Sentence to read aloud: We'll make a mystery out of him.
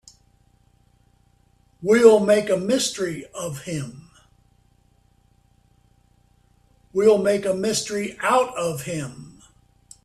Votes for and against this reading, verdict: 0, 3, rejected